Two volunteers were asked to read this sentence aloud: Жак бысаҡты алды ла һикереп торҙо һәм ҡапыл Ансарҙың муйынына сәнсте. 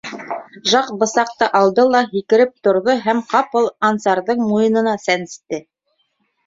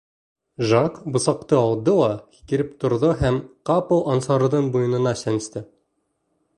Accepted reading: second